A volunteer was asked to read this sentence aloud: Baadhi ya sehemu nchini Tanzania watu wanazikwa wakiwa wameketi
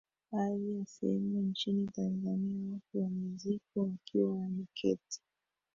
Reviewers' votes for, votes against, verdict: 1, 2, rejected